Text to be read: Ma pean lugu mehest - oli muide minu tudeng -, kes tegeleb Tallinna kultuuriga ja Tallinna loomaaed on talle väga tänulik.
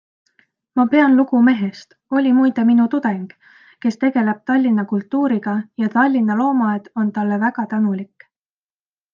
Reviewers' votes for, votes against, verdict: 2, 0, accepted